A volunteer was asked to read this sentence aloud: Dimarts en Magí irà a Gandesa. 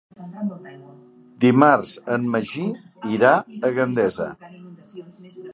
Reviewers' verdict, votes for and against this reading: accepted, 3, 0